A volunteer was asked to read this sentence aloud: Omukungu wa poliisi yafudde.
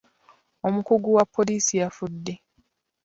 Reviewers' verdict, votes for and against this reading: rejected, 1, 2